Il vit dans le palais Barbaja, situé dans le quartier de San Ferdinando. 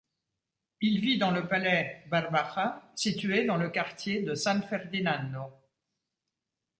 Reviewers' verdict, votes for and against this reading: accepted, 2, 0